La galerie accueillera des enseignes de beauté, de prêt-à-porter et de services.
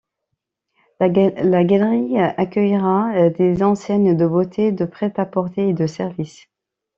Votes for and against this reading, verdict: 0, 2, rejected